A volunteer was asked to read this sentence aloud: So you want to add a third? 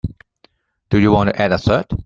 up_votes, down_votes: 0, 2